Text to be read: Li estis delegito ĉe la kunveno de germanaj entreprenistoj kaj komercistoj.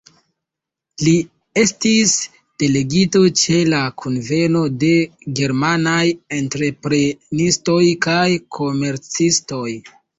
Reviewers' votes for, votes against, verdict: 2, 0, accepted